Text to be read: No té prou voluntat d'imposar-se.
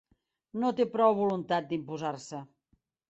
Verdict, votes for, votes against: accepted, 4, 0